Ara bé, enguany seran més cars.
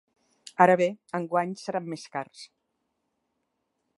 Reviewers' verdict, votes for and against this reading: accepted, 2, 0